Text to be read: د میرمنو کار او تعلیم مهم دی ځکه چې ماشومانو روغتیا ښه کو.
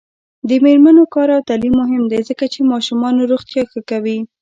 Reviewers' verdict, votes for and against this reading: rejected, 1, 2